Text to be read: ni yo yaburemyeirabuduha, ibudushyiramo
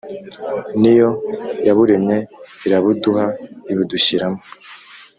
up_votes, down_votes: 2, 0